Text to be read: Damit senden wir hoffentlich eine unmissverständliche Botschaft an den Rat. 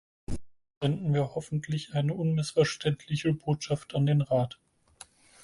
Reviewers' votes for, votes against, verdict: 0, 4, rejected